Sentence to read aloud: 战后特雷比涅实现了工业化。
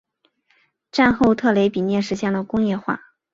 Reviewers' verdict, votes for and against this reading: accepted, 3, 0